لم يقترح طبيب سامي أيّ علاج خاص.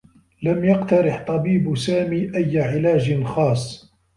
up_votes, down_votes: 1, 2